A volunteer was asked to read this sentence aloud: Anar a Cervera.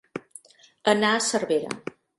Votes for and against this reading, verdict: 2, 0, accepted